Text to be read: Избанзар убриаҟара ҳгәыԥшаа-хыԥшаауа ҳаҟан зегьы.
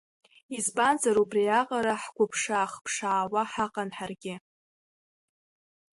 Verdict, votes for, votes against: rejected, 0, 2